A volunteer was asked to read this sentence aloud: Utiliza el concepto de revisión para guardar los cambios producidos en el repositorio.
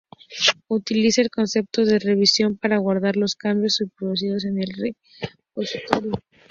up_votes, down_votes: 2, 0